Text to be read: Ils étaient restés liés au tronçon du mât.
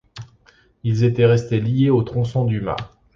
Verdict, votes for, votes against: accepted, 2, 0